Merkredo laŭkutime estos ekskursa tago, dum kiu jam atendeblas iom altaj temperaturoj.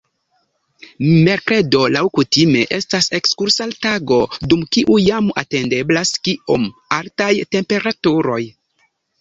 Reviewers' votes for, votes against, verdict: 1, 2, rejected